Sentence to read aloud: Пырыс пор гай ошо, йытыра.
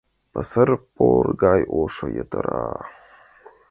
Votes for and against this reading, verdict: 0, 2, rejected